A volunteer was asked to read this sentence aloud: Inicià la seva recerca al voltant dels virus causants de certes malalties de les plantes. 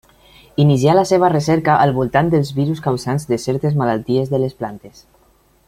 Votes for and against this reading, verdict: 2, 0, accepted